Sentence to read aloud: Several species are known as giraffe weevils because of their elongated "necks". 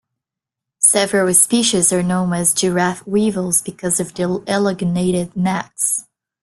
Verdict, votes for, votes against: rejected, 0, 2